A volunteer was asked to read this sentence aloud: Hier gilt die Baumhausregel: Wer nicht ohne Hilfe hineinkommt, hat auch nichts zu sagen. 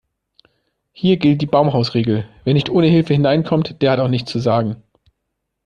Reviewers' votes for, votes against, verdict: 0, 2, rejected